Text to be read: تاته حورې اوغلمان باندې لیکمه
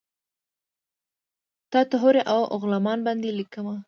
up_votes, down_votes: 0, 2